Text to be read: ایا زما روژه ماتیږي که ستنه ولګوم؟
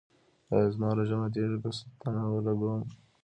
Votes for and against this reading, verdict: 2, 0, accepted